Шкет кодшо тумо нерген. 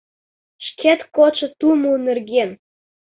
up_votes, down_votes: 2, 0